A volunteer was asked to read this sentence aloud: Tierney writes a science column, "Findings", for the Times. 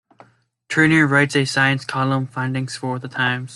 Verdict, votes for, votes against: rejected, 1, 2